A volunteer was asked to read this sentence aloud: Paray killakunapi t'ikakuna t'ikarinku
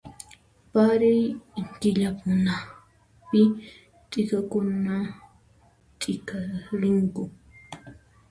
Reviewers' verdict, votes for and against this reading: accepted, 2, 1